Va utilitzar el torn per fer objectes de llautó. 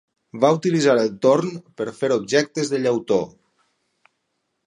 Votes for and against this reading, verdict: 6, 0, accepted